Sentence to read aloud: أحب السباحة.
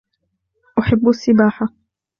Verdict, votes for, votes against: accepted, 2, 0